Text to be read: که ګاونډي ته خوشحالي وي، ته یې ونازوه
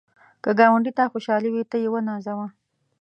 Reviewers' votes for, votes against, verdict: 2, 1, accepted